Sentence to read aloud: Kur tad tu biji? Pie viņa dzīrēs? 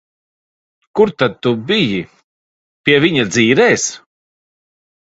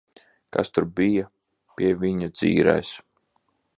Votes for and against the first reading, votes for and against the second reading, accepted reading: 2, 0, 0, 2, first